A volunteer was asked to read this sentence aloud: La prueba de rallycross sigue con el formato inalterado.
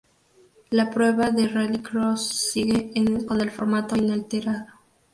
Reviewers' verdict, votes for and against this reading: rejected, 0, 2